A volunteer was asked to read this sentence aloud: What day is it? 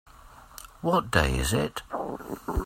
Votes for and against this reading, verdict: 2, 0, accepted